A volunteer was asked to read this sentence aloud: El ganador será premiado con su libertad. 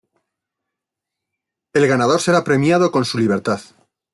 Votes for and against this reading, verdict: 2, 0, accepted